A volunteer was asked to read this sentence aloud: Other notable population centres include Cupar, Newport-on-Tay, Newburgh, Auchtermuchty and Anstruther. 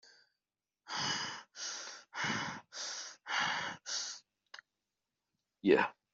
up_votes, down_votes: 0, 2